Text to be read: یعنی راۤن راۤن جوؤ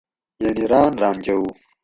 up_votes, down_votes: 4, 0